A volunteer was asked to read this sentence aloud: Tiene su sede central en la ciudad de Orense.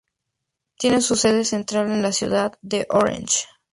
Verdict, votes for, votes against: accepted, 6, 4